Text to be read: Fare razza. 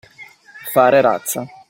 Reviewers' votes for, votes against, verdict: 2, 0, accepted